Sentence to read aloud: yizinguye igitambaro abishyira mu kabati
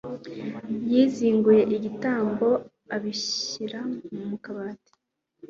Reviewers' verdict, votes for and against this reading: rejected, 1, 2